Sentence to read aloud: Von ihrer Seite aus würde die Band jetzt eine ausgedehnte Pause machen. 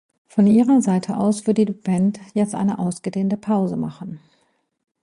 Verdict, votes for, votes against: accepted, 2, 0